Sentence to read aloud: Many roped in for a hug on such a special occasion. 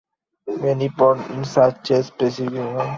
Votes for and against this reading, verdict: 0, 2, rejected